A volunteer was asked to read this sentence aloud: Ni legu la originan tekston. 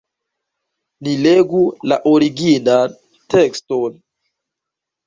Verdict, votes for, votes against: accepted, 2, 1